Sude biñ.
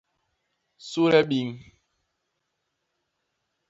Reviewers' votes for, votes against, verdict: 2, 0, accepted